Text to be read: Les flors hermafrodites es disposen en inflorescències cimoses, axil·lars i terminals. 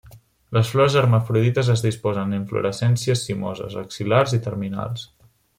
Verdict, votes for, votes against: accepted, 2, 0